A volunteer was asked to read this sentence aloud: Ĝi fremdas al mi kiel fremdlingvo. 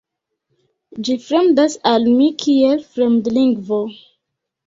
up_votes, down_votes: 1, 2